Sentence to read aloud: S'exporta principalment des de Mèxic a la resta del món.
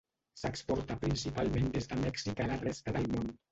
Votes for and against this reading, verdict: 0, 2, rejected